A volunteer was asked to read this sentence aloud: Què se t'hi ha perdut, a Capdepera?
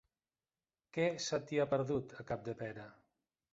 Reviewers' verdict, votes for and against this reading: accepted, 2, 0